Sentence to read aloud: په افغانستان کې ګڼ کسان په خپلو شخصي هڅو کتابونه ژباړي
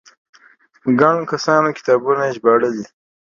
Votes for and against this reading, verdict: 0, 2, rejected